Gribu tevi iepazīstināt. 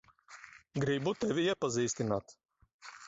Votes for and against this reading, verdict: 1, 2, rejected